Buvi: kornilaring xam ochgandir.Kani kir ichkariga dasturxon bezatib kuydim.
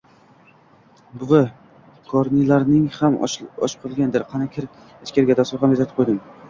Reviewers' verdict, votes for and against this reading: rejected, 0, 2